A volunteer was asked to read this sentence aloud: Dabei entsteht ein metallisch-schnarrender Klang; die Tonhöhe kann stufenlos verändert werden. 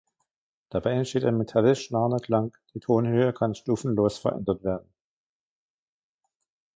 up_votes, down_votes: 1, 3